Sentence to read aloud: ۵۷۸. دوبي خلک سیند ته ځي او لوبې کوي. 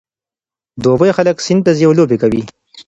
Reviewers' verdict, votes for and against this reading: rejected, 0, 2